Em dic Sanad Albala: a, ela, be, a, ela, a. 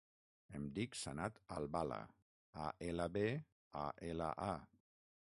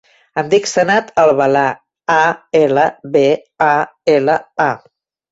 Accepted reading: second